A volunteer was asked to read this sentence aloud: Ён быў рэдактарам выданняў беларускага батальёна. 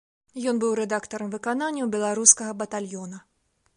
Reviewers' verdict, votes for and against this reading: rejected, 1, 2